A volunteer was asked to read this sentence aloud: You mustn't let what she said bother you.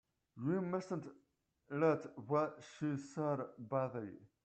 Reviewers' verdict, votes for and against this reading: rejected, 1, 2